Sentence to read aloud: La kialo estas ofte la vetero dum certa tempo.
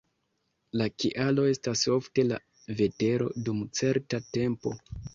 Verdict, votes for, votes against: accepted, 2, 0